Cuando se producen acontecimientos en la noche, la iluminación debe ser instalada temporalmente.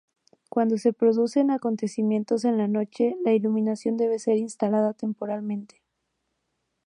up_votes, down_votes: 2, 0